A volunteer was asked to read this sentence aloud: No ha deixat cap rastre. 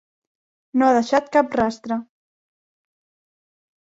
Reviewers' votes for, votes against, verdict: 3, 0, accepted